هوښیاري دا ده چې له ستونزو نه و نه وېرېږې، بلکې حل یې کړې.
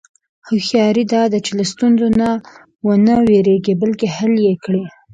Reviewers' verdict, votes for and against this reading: accepted, 2, 0